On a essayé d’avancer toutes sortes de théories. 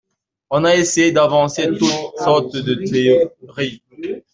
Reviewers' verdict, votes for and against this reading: rejected, 1, 2